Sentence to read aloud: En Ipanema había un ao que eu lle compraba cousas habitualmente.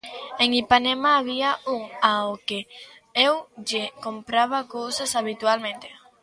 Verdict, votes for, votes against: accepted, 2, 0